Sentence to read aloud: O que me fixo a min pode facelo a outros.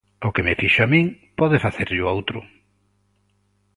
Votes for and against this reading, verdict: 0, 2, rejected